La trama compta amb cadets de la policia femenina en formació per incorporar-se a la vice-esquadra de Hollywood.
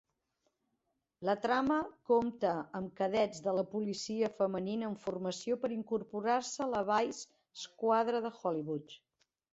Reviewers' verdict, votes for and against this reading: rejected, 0, 2